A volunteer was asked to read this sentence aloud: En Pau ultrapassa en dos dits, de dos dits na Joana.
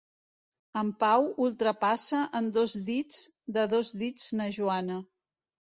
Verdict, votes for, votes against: accepted, 2, 0